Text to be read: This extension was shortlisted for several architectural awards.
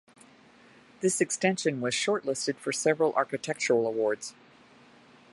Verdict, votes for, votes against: accepted, 2, 0